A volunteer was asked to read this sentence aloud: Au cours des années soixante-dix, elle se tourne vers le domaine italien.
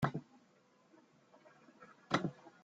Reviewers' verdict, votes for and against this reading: rejected, 0, 2